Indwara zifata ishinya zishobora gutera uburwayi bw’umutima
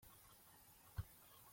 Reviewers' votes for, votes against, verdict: 0, 2, rejected